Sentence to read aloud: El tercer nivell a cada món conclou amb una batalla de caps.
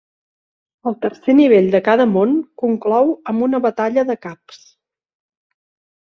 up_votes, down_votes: 1, 2